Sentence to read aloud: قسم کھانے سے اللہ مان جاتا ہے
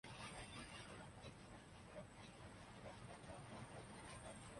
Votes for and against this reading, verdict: 0, 2, rejected